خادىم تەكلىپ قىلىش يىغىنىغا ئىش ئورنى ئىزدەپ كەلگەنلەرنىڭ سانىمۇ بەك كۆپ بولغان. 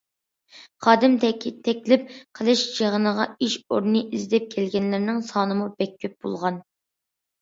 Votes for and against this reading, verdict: 0, 2, rejected